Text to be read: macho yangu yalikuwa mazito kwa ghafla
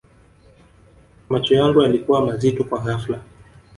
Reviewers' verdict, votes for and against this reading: rejected, 1, 2